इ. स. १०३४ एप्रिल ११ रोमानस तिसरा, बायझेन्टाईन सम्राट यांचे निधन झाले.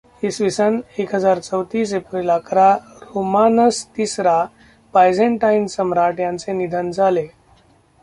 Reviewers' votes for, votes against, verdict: 0, 2, rejected